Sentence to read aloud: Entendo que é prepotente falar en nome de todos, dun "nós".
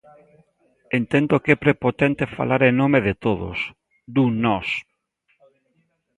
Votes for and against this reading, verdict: 2, 0, accepted